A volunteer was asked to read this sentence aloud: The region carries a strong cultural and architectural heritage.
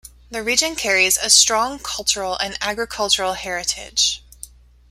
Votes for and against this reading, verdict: 1, 2, rejected